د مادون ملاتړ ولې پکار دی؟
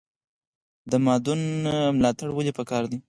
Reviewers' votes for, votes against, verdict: 0, 4, rejected